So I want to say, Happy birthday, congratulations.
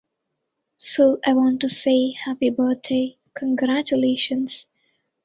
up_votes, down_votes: 2, 0